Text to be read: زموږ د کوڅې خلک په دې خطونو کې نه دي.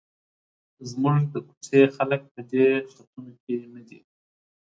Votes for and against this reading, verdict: 1, 2, rejected